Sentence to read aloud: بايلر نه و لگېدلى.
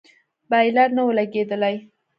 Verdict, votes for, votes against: rejected, 1, 2